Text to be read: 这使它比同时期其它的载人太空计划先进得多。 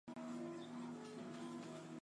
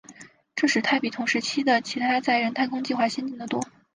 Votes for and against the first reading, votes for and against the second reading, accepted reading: 1, 3, 3, 1, second